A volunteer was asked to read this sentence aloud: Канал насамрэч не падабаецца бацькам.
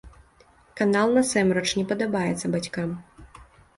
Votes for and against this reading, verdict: 1, 2, rejected